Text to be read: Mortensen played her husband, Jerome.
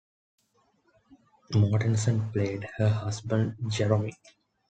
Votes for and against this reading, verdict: 2, 1, accepted